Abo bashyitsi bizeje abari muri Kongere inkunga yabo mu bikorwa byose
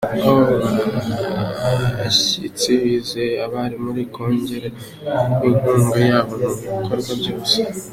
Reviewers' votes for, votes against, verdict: 1, 3, rejected